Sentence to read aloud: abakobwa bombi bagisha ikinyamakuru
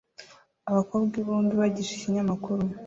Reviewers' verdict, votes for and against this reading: rejected, 0, 2